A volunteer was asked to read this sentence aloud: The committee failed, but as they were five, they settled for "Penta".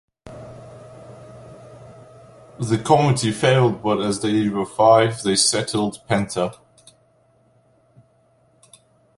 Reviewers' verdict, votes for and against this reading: rejected, 0, 2